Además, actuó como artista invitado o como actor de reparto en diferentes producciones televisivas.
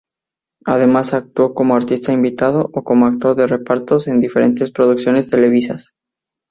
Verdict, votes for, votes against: rejected, 0, 4